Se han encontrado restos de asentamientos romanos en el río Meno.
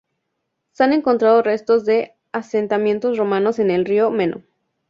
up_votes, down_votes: 2, 0